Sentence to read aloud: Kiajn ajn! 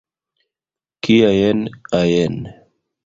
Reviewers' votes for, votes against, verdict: 2, 3, rejected